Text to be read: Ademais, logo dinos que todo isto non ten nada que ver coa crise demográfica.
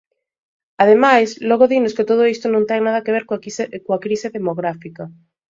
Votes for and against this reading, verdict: 1, 2, rejected